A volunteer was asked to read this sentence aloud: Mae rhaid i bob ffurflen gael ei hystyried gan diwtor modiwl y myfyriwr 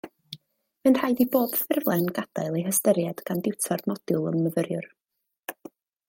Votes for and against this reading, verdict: 0, 2, rejected